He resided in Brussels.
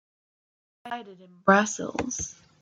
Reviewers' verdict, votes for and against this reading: rejected, 0, 2